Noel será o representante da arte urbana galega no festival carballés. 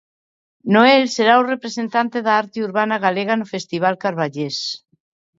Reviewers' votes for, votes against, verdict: 2, 0, accepted